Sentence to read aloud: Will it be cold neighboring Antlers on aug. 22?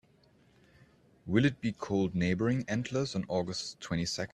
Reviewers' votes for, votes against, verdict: 0, 2, rejected